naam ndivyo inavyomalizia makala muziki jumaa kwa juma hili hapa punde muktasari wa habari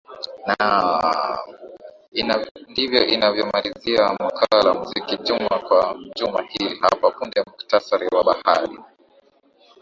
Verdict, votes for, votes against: rejected, 0, 2